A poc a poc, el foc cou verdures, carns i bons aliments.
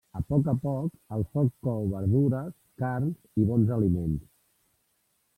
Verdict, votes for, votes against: rejected, 1, 2